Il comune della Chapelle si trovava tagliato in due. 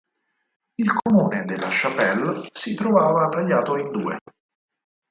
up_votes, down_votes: 4, 2